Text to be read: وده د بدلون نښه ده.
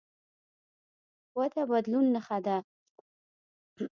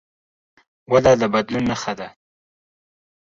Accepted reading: second